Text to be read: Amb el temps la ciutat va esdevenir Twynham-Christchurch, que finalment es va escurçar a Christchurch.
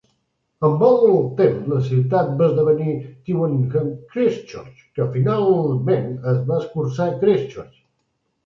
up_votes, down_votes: 1, 2